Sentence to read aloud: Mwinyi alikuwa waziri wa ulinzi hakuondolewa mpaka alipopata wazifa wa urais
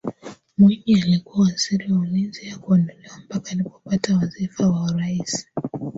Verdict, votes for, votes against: rejected, 0, 4